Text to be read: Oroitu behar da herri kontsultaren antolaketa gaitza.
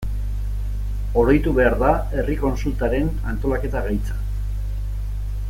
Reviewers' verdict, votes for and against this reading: rejected, 0, 2